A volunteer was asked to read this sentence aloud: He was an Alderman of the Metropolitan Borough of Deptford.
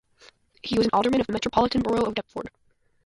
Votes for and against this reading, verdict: 0, 2, rejected